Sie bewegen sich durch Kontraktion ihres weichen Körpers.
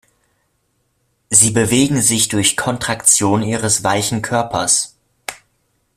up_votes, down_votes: 1, 2